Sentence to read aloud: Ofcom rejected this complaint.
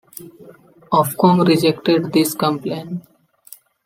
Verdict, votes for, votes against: accepted, 2, 0